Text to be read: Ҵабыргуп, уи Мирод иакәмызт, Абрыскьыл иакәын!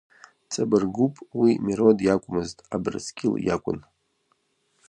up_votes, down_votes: 0, 2